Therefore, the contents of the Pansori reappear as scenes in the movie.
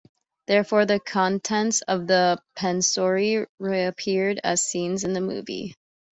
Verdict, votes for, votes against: accepted, 3, 0